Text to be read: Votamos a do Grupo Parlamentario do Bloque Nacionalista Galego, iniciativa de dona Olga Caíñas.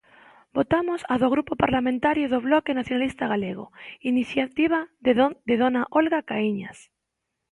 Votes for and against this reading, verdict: 0, 2, rejected